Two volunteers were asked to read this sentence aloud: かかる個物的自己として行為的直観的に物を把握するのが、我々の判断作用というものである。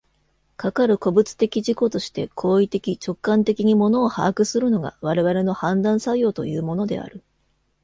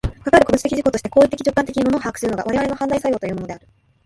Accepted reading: first